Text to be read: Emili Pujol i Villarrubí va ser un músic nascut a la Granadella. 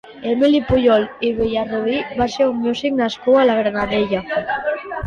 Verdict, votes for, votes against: rejected, 1, 2